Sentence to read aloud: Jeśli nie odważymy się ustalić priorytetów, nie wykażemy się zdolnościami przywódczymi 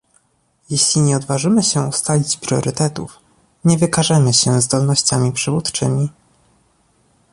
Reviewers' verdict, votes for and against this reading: accepted, 2, 0